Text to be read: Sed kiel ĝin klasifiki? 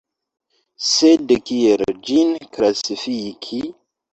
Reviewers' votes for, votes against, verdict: 2, 0, accepted